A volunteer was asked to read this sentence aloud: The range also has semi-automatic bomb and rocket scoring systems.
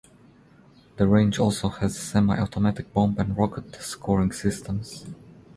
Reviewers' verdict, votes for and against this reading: accepted, 2, 0